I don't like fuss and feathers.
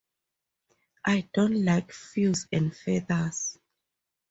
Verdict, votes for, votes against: rejected, 2, 2